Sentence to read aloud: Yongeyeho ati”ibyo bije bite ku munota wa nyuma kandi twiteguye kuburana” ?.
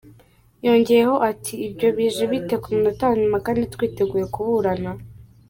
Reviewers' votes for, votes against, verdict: 2, 0, accepted